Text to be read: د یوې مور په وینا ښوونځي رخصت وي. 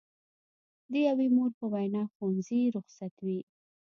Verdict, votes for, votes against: accepted, 2, 0